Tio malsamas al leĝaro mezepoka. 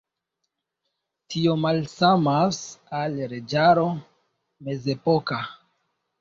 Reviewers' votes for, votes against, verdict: 2, 0, accepted